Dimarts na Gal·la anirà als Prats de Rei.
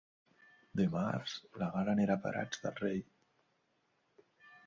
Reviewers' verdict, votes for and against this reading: rejected, 1, 2